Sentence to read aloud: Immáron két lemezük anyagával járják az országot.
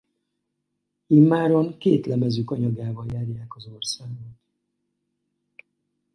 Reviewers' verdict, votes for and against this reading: accepted, 2, 0